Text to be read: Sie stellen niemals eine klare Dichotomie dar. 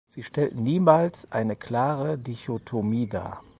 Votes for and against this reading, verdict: 0, 4, rejected